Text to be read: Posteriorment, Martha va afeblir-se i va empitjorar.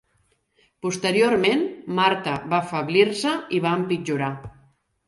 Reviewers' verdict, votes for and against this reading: accepted, 2, 1